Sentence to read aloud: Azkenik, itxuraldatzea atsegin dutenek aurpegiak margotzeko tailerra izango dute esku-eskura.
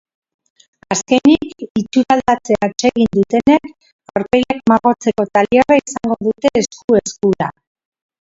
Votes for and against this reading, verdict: 0, 3, rejected